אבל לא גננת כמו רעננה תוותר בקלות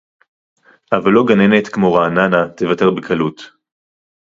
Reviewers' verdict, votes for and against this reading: accepted, 2, 0